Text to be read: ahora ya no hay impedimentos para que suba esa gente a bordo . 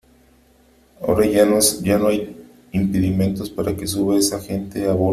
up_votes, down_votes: 0, 3